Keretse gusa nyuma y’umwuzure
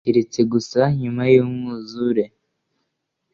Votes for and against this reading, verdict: 2, 0, accepted